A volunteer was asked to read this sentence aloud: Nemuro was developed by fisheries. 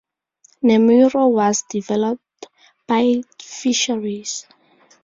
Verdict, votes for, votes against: accepted, 2, 0